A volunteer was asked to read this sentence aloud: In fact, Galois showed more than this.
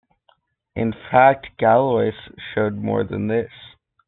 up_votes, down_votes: 2, 0